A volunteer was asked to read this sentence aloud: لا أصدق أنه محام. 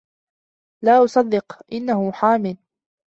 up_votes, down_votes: 2, 0